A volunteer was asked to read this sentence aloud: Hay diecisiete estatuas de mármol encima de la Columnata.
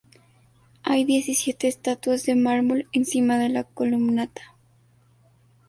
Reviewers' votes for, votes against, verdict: 2, 0, accepted